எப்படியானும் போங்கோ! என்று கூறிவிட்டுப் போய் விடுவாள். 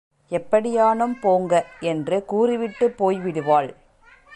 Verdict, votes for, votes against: accepted, 2, 0